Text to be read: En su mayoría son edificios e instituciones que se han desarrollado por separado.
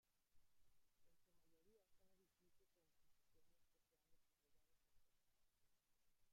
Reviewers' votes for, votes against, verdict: 0, 2, rejected